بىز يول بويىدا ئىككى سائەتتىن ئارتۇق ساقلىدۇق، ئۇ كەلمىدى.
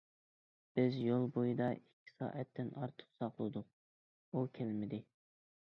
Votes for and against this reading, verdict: 2, 0, accepted